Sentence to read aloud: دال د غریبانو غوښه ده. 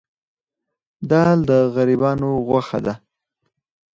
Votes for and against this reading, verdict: 4, 0, accepted